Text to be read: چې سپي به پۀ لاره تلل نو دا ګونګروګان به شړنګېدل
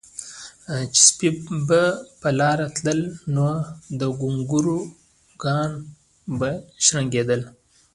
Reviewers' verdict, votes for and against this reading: rejected, 1, 2